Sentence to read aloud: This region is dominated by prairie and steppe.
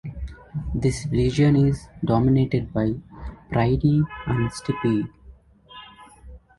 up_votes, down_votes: 1, 2